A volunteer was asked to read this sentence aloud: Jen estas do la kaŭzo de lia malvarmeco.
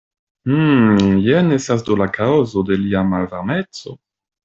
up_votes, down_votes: 1, 2